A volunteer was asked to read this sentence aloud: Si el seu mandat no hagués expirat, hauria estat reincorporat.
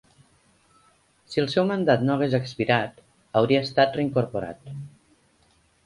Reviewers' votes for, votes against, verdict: 2, 0, accepted